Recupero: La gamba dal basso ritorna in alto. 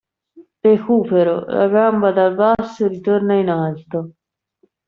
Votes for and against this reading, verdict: 2, 0, accepted